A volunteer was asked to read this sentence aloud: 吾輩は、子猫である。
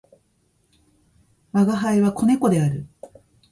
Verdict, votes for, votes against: accepted, 2, 0